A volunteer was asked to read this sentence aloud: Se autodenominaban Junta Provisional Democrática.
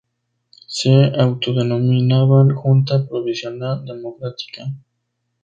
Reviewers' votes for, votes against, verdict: 2, 0, accepted